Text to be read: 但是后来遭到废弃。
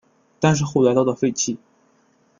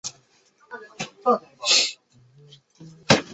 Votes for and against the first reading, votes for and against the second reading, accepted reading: 2, 0, 0, 2, first